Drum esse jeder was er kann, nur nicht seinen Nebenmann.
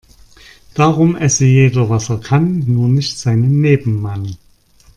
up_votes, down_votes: 0, 2